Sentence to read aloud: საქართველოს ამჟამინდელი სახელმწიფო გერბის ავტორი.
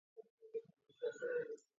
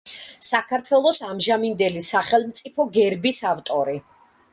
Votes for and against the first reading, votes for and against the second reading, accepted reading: 0, 2, 2, 0, second